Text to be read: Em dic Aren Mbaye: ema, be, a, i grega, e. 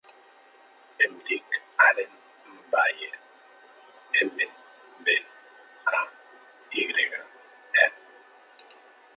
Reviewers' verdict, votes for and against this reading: accepted, 3, 2